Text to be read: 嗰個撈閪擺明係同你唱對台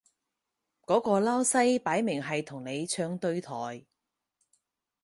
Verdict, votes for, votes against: rejected, 2, 4